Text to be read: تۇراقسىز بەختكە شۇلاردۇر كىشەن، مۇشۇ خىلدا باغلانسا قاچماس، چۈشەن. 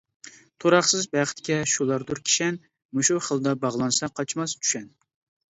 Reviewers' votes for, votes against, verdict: 2, 0, accepted